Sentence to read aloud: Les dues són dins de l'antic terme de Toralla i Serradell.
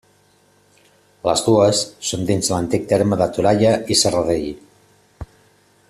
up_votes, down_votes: 2, 1